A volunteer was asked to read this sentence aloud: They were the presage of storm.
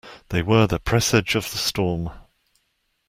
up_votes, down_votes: 1, 2